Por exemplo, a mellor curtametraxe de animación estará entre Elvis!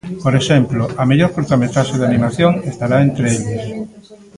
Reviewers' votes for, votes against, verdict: 1, 2, rejected